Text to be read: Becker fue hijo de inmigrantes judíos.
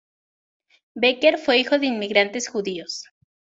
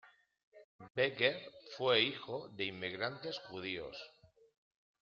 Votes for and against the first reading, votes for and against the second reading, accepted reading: 4, 0, 1, 2, first